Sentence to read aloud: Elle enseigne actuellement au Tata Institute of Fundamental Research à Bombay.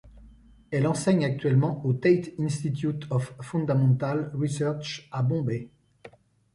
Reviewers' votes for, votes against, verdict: 1, 2, rejected